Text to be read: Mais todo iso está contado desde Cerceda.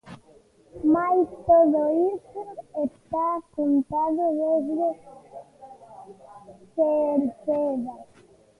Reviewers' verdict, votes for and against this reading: rejected, 0, 2